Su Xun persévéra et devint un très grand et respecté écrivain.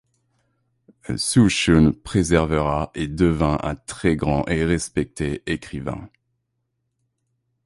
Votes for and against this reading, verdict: 1, 2, rejected